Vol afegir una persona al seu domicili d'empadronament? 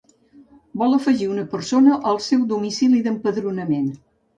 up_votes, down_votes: 1, 2